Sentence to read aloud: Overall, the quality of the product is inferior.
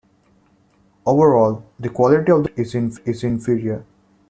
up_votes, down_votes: 1, 2